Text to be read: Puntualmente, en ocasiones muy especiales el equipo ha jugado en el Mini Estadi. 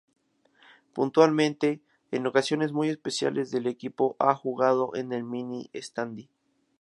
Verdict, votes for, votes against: accepted, 4, 2